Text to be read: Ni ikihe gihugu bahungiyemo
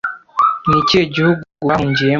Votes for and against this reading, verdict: 1, 2, rejected